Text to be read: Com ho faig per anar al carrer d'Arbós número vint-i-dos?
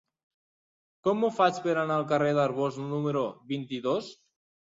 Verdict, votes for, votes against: accepted, 4, 0